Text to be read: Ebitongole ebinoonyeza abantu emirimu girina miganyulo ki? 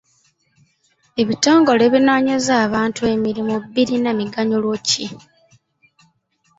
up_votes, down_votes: 1, 2